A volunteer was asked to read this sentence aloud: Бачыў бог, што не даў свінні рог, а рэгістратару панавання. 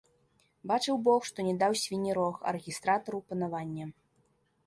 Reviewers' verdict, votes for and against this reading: accepted, 3, 0